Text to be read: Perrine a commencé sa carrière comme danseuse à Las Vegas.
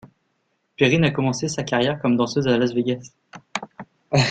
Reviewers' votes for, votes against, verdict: 0, 2, rejected